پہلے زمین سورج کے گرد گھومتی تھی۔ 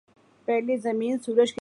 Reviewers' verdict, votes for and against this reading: rejected, 0, 2